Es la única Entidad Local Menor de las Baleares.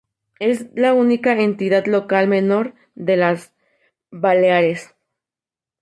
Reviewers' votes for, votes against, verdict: 0, 2, rejected